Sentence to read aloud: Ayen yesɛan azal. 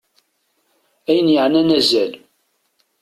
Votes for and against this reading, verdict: 1, 2, rejected